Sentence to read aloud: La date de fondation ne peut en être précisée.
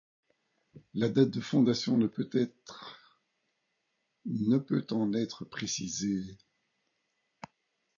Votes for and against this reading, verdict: 1, 2, rejected